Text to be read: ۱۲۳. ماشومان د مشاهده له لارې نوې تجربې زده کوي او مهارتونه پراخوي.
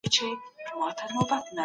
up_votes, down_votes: 0, 2